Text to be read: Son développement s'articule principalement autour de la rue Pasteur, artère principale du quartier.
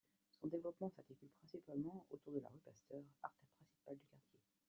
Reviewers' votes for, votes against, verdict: 2, 0, accepted